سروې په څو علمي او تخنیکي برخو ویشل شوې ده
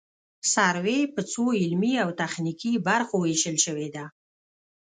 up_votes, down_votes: 1, 2